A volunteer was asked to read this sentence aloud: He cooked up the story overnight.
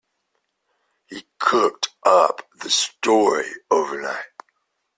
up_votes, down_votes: 2, 0